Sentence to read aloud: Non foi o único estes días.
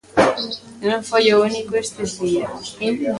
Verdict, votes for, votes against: rejected, 0, 2